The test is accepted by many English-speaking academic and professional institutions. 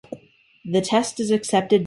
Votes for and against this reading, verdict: 0, 2, rejected